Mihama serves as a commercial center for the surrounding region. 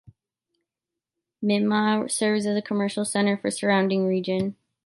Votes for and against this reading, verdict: 2, 3, rejected